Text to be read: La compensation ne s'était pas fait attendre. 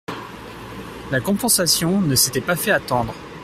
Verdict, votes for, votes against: accepted, 3, 1